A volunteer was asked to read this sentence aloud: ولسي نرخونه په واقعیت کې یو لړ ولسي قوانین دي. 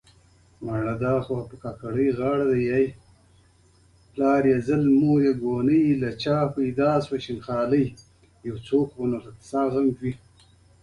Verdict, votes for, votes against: rejected, 1, 2